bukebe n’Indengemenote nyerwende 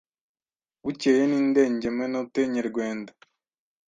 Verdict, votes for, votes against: rejected, 1, 2